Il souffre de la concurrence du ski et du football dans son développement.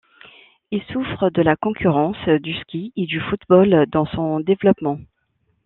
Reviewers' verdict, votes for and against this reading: accepted, 2, 0